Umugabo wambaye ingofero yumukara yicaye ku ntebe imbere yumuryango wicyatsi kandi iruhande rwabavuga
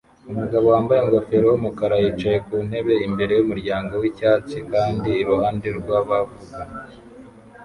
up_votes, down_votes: 1, 2